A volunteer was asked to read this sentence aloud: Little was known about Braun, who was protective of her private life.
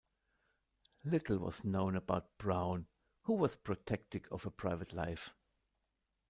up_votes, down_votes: 0, 2